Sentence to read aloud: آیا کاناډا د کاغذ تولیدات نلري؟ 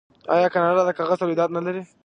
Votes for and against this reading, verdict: 0, 2, rejected